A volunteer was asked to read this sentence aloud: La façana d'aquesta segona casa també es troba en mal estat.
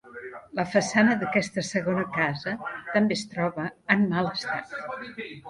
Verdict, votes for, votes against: rejected, 1, 2